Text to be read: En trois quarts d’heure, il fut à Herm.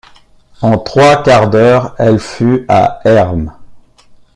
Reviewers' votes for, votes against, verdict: 0, 2, rejected